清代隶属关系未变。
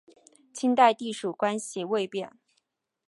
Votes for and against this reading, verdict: 2, 0, accepted